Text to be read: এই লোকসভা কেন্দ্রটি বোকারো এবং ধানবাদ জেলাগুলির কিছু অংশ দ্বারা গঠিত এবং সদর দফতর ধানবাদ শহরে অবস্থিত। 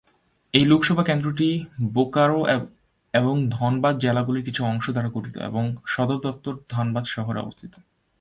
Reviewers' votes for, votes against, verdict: 1, 2, rejected